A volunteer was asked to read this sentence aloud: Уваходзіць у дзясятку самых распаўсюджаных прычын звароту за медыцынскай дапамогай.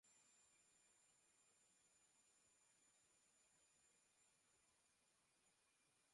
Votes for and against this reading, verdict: 0, 2, rejected